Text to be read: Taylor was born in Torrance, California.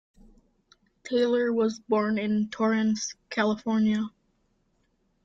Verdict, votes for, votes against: accepted, 2, 0